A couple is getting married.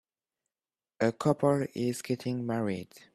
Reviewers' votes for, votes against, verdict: 2, 0, accepted